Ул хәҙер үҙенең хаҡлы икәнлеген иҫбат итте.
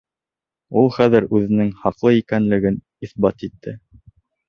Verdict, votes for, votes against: accepted, 2, 0